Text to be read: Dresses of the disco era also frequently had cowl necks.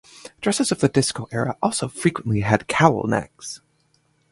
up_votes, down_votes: 2, 0